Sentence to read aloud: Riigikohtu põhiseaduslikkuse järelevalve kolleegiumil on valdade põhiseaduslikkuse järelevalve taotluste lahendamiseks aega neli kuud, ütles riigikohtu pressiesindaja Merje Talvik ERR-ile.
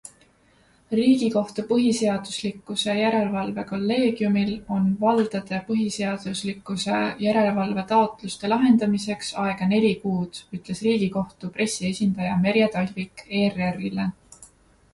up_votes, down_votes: 2, 0